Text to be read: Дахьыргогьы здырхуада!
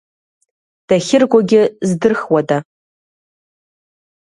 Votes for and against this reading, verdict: 3, 0, accepted